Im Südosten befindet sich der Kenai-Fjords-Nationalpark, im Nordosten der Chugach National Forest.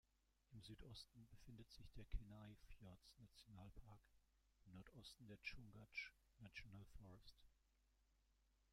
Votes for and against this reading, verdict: 0, 2, rejected